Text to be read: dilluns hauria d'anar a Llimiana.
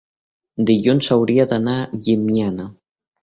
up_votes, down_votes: 1, 2